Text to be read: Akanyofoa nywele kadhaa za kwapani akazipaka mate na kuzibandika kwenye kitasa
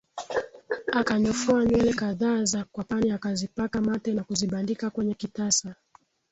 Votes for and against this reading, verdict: 0, 2, rejected